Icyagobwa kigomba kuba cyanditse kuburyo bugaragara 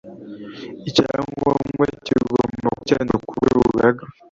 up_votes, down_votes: 1, 2